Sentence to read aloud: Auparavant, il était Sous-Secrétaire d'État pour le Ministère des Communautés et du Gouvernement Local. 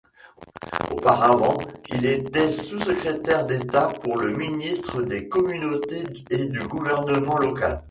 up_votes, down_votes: 1, 2